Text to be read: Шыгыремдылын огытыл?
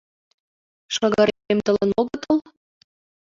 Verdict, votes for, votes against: rejected, 0, 2